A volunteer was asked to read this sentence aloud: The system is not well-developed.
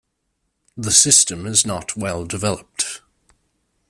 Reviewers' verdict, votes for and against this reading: accepted, 2, 1